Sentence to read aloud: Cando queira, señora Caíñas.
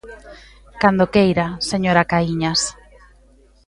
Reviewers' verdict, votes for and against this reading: accepted, 2, 1